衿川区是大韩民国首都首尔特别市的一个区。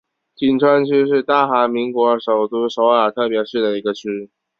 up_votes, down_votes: 3, 0